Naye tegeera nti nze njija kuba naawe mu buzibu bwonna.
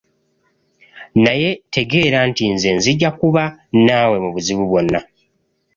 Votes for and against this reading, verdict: 2, 0, accepted